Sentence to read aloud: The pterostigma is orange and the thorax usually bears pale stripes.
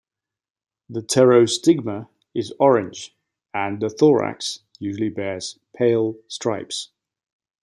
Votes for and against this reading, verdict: 2, 0, accepted